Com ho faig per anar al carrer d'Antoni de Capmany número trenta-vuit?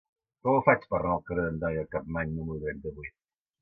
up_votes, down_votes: 0, 2